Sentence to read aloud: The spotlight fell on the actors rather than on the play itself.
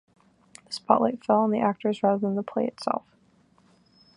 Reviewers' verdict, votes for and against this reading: rejected, 0, 2